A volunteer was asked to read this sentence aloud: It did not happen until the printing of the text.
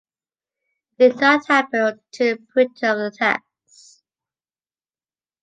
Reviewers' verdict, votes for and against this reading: rejected, 0, 2